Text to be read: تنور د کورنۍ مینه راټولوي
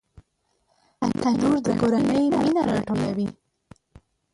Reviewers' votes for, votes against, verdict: 0, 2, rejected